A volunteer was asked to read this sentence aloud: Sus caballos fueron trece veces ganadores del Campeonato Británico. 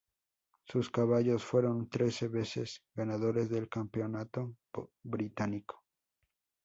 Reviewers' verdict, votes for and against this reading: accepted, 2, 0